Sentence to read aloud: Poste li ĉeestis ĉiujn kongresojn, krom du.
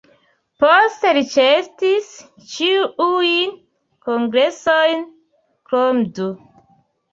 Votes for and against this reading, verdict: 0, 2, rejected